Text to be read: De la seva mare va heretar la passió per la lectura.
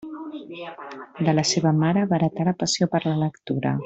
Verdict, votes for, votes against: rejected, 1, 2